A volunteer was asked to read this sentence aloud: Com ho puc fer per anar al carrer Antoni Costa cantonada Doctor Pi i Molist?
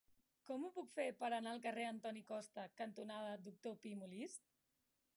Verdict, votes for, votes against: rejected, 0, 2